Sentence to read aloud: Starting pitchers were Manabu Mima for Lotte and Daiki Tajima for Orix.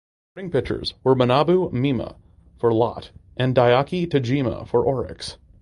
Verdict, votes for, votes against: rejected, 0, 2